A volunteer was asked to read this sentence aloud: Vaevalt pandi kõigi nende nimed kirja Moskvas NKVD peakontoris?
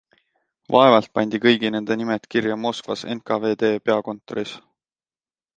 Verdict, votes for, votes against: accepted, 2, 0